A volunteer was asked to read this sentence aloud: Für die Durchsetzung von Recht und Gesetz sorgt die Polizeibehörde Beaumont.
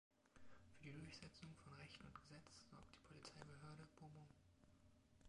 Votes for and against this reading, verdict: 1, 2, rejected